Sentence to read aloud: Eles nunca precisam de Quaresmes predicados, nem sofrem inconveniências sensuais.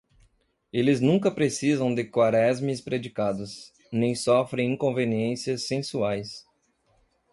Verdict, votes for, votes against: accepted, 2, 0